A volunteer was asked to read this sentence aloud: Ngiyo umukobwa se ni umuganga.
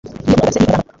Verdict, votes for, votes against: rejected, 1, 2